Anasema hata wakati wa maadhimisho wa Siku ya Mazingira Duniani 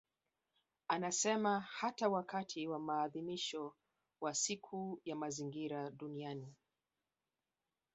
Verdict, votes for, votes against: rejected, 1, 2